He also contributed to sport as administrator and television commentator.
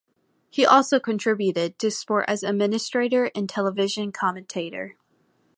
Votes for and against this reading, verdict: 2, 0, accepted